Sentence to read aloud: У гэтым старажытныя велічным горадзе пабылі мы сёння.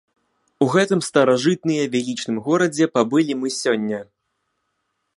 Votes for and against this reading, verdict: 2, 0, accepted